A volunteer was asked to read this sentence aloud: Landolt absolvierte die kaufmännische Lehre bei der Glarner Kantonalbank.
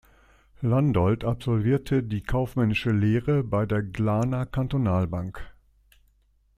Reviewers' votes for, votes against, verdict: 2, 0, accepted